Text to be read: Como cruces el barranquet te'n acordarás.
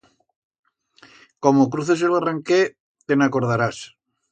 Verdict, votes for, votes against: accepted, 2, 0